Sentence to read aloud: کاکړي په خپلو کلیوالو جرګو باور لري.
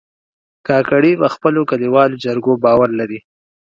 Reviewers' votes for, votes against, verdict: 2, 0, accepted